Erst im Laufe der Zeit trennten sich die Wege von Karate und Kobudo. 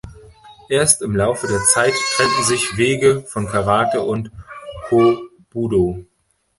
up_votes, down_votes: 0, 2